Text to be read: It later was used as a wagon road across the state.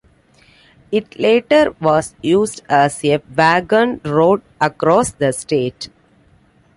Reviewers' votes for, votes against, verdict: 2, 0, accepted